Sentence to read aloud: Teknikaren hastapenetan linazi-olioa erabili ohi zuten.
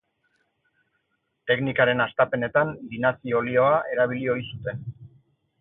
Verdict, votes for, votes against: accepted, 6, 0